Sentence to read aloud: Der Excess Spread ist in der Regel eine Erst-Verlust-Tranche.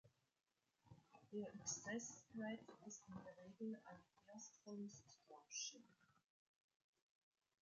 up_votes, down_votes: 0, 2